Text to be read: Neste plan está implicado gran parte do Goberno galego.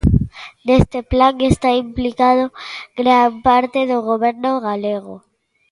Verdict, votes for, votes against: accepted, 2, 1